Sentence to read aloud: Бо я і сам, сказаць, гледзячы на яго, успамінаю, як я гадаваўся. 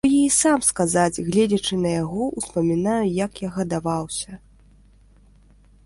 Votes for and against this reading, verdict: 2, 1, accepted